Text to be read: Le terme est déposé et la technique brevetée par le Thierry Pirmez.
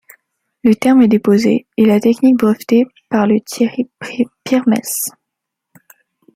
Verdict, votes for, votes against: rejected, 0, 2